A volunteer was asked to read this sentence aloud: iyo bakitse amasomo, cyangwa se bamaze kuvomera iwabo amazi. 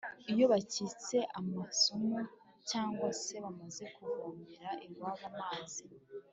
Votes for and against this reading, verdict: 1, 2, rejected